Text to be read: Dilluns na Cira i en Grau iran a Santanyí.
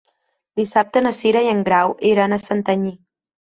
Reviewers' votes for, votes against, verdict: 0, 2, rejected